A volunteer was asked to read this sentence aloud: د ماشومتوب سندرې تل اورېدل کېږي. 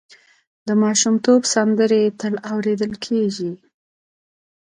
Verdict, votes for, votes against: accepted, 2, 1